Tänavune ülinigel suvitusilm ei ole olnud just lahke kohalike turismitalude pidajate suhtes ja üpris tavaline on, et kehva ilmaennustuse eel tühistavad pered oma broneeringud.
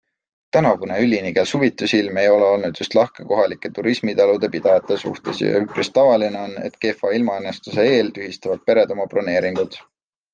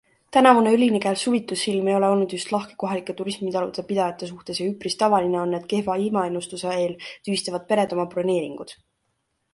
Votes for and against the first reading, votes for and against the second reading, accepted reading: 2, 0, 0, 2, first